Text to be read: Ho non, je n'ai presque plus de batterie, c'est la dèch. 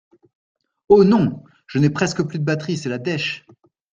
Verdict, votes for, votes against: accepted, 2, 0